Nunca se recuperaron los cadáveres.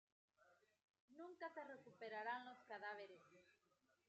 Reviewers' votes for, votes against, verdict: 0, 2, rejected